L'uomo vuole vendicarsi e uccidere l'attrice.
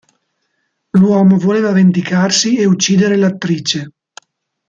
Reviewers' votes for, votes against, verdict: 0, 2, rejected